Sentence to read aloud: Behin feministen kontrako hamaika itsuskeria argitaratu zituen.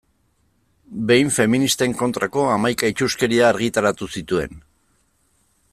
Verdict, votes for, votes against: accepted, 2, 0